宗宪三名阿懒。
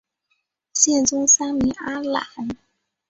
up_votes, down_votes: 0, 3